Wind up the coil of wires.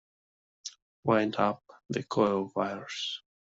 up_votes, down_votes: 2, 0